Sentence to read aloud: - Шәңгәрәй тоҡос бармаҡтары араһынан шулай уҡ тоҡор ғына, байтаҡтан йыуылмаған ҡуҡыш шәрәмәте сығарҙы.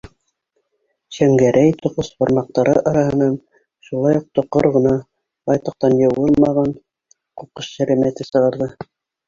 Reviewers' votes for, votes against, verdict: 1, 2, rejected